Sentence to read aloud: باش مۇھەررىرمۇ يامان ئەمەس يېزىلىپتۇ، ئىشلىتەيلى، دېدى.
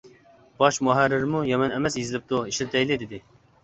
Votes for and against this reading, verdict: 2, 0, accepted